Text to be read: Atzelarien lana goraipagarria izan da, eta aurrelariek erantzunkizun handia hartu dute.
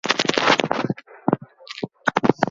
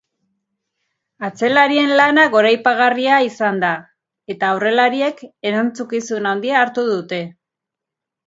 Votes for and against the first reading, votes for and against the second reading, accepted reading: 0, 4, 2, 0, second